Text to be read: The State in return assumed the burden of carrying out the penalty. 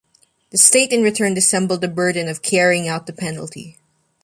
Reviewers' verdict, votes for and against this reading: rejected, 1, 2